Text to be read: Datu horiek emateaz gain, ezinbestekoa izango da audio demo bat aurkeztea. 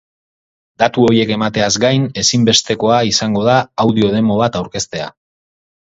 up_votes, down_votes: 0, 4